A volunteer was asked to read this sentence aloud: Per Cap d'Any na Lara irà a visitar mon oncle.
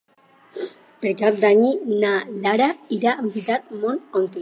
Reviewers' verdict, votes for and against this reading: rejected, 0, 4